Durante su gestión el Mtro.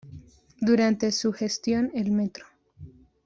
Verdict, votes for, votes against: accepted, 2, 1